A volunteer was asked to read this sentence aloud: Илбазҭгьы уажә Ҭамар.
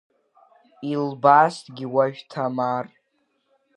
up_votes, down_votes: 1, 2